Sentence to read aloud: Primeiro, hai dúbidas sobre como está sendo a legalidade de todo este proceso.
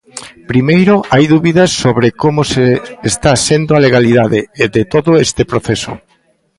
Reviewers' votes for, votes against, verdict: 0, 2, rejected